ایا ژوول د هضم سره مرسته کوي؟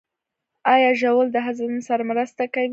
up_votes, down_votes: 2, 0